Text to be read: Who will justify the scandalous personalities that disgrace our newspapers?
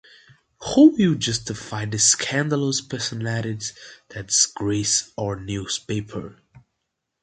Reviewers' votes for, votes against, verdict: 1, 2, rejected